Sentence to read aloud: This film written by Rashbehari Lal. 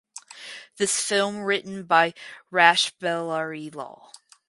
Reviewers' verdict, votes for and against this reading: rejected, 2, 2